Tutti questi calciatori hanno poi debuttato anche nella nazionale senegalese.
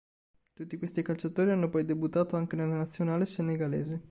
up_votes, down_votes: 0, 2